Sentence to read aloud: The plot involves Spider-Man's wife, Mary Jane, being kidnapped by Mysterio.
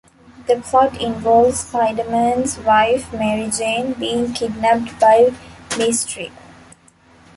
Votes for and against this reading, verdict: 0, 2, rejected